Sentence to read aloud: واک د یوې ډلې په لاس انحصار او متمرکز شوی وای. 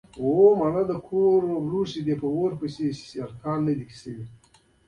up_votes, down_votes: 1, 2